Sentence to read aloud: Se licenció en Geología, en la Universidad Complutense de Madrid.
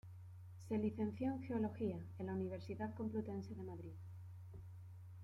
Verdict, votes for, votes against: accepted, 2, 0